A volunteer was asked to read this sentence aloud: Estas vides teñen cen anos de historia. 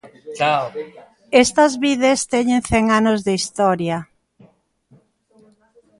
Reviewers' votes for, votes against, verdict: 0, 2, rejected